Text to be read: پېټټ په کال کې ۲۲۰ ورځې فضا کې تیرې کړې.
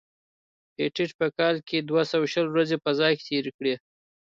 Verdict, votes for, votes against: rejected, 0, 2